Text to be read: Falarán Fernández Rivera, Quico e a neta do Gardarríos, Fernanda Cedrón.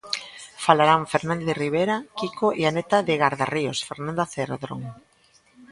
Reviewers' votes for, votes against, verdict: 1, 2, rejected